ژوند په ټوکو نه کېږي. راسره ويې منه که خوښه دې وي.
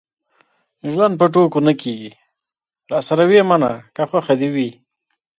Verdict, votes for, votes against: accepted, 3, 1